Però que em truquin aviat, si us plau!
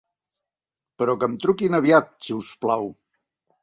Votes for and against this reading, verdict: 3, 0, accepted